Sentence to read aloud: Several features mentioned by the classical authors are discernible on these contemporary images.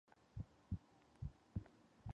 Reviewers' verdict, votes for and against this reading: rejected, 0, 2